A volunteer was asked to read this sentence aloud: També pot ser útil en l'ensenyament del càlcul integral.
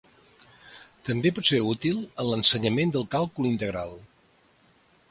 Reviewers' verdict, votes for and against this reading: accepted, 2, 0